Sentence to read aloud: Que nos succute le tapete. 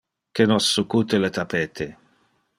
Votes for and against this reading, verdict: 2, 0, accepted